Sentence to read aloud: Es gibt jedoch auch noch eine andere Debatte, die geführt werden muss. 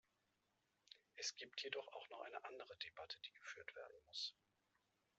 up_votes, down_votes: 1, 2